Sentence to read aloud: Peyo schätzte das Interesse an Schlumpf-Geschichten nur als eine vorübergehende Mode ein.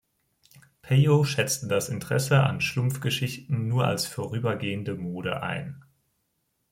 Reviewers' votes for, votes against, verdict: 1, 2, rejected